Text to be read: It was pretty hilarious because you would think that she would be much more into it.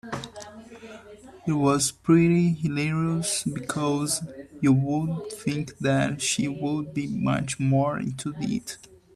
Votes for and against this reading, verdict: 2, 3, rejected